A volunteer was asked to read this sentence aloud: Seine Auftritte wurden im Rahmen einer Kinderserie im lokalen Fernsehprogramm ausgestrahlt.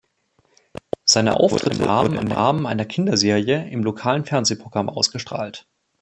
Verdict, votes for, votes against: rejected, 0, 2